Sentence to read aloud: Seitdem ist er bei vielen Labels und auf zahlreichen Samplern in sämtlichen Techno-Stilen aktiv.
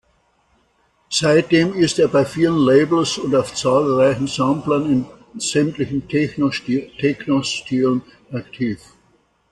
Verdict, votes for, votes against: rejected, 0, 2